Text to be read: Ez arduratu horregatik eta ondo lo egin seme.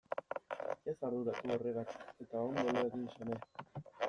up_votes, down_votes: 1, 2